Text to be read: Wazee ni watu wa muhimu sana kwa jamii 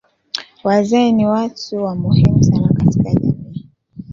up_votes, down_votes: 2, 1